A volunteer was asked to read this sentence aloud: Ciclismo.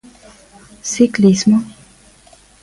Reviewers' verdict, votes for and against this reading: accepted, 2, 0